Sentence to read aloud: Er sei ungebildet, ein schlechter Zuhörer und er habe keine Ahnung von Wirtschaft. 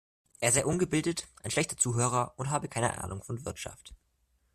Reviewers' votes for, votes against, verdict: 1, 2, rejected